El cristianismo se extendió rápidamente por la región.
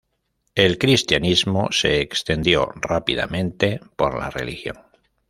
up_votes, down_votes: 1, 2